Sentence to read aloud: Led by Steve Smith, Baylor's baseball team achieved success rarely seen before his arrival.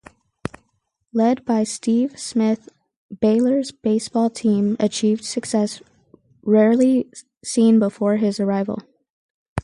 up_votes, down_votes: 4, 0